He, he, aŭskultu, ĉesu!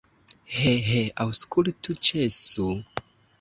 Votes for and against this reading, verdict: 2, 0, accepted